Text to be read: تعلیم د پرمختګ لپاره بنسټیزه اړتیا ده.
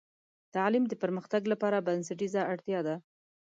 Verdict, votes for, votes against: accepted, 2, 0